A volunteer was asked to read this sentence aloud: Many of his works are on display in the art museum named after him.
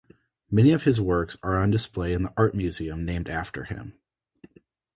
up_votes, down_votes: 2, 2